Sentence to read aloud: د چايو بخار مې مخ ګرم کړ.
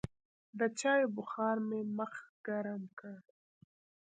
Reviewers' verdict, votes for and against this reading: rejected, 0, 2